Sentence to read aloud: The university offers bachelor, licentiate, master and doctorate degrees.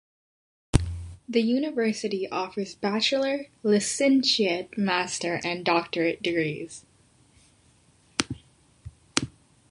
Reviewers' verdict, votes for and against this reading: accepted, 2, 0